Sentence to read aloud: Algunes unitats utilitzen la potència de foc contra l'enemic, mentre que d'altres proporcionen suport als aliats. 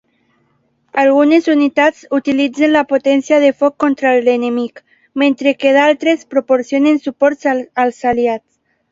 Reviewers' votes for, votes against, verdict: 1, 2, rejected